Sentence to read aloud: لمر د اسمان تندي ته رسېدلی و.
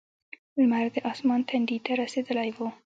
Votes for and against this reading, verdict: 2, 0, accepted